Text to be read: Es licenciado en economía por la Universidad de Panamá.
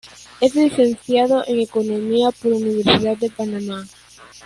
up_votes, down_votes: 0, 2